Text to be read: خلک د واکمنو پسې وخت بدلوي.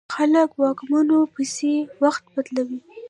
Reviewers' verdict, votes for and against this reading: rejected, 1, 2